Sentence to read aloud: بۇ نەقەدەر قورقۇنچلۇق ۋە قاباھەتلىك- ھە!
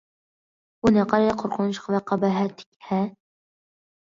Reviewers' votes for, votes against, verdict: 1, 2, rejected